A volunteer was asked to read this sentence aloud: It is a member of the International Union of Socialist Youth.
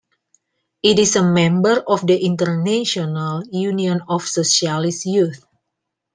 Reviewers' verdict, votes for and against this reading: rejected, 1, 2